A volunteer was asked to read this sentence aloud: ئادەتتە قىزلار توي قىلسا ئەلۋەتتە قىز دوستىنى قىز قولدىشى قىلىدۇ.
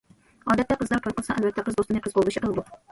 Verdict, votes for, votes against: rejected, 1, 2